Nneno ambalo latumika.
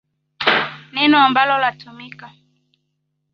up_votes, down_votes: 2, 1